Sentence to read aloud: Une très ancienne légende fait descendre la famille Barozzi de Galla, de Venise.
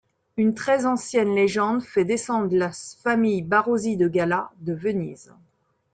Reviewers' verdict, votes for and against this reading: rejected, 0, 2